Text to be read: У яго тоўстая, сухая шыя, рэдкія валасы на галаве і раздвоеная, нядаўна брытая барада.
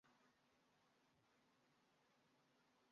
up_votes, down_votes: 0, 2